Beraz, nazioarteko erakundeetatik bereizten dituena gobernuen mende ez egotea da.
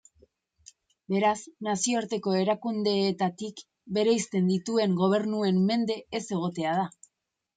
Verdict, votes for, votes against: rejected, 1, 3